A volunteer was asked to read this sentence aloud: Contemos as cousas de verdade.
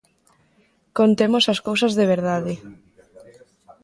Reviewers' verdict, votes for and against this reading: accepted, 2, 1